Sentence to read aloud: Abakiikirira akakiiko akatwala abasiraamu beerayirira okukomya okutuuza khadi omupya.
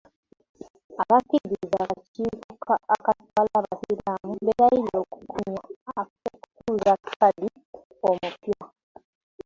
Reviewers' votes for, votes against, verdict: 0, 2, rejected